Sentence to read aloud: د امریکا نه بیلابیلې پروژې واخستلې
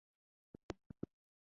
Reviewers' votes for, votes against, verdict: 0, 2, rejected